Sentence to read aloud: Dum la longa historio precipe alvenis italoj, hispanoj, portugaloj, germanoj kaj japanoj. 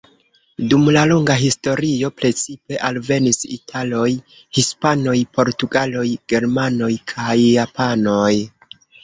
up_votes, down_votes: 1, 2